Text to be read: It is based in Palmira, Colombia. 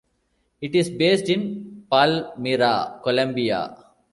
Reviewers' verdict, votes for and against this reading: rejected, 0, 2